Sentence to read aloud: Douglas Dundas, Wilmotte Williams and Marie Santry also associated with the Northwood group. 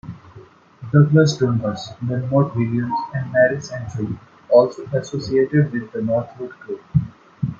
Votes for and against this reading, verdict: 2, 0, accepted